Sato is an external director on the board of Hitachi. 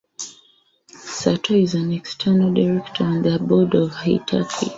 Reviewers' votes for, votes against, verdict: 2, 0, accepted